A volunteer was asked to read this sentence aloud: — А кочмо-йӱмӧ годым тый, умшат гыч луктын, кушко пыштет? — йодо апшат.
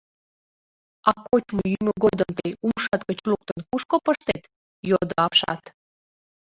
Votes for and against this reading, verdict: 1, 2, rejected